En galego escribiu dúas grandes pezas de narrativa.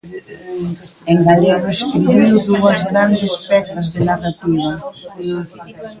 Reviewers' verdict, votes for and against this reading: accepted, 2, 1